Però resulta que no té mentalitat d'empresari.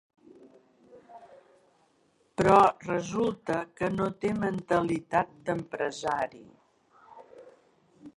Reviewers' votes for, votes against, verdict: 1, 2, rejected